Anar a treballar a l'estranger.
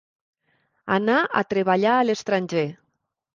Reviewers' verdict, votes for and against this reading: accepted, 2, 0